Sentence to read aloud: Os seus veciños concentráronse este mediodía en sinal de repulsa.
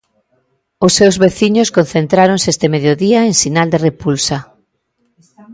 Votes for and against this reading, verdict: 2, 0, accepted